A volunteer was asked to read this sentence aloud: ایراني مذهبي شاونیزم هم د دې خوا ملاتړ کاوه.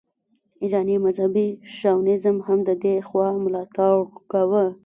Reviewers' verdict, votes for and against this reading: rejected, 1, 2